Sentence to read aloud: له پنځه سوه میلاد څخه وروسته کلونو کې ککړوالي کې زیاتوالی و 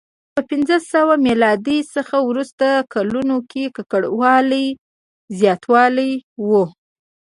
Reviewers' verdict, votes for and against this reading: rejected, 1, 2